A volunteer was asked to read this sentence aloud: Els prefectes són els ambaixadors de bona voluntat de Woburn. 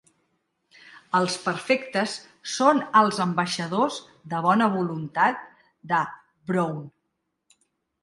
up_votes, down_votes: 1, 2